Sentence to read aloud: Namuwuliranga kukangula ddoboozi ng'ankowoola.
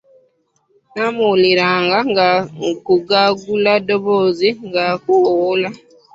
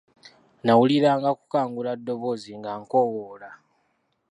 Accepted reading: second